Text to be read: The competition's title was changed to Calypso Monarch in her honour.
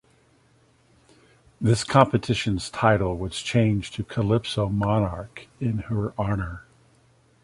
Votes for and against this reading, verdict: 1, 2, rejected